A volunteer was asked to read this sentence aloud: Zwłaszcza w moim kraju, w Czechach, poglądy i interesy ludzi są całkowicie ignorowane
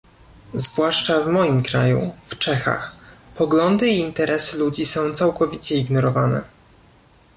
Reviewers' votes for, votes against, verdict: 2, 0, accepted